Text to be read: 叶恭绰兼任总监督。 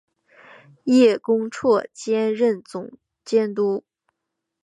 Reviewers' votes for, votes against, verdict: 2, 0, accepted